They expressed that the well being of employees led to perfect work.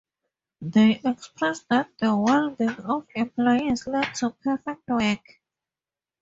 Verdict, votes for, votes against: rejected, 0, 4